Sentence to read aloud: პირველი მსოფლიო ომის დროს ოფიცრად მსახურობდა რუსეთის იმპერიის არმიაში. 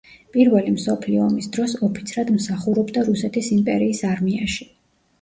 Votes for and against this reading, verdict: 2, 0, accepted